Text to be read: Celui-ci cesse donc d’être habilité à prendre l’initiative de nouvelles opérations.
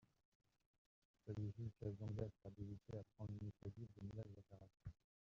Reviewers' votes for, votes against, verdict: 2, 0, accepted